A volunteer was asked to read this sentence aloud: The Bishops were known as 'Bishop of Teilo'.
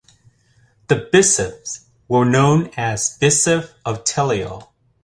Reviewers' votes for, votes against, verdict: 0, 2, rejected